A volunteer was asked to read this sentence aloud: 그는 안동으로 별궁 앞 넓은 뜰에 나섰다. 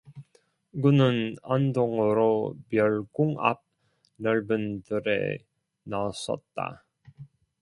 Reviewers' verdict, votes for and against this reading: rejected, 1, 2